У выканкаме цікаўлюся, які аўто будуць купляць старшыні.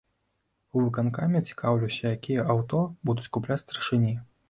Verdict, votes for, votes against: rejected, 0, 2